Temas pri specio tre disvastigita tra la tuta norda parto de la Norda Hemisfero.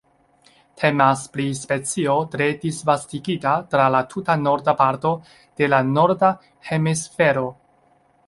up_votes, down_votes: 2, 0